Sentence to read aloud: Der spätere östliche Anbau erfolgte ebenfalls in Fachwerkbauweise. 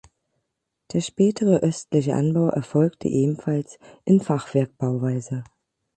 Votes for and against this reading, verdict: 12, 0, accepted